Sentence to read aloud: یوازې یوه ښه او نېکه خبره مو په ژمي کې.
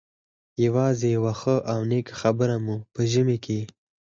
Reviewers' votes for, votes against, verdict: 4, 2, accepted